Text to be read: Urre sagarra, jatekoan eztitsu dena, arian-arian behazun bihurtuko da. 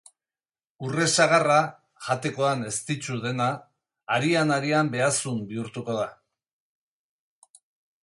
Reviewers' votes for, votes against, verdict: 3, 0, accepted